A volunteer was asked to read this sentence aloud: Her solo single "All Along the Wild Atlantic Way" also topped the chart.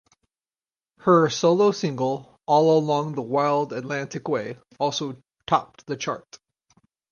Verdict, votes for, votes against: accepted, 6, 0